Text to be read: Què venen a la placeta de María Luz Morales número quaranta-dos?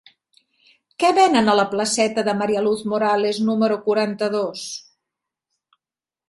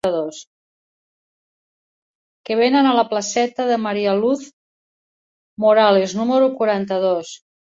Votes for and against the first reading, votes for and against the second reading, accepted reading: 3, 0, 1, 2, first